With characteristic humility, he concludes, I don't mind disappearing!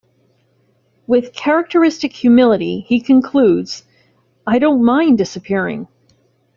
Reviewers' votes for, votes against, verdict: 2, 0, accepted